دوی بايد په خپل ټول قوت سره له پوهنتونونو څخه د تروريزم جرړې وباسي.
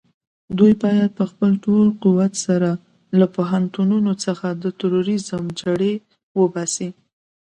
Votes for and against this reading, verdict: 2, 0, accepted